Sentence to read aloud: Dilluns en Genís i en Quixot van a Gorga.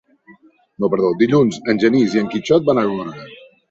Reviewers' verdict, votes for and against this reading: rejected, 0, 3